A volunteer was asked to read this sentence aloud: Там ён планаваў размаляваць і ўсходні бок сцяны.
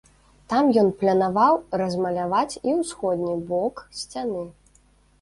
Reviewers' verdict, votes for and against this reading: rejected, 0, 2